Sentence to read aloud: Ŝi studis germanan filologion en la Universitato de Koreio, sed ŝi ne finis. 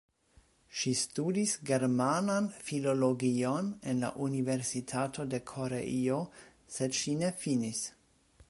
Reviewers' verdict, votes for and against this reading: accepted, 2, 0